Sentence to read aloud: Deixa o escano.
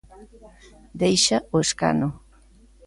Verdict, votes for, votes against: rejected, 0, 2